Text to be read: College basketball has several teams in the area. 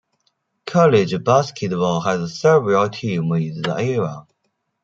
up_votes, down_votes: 2, 0